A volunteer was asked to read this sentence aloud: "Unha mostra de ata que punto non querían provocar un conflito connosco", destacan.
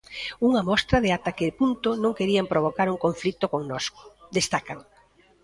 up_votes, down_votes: 1, 2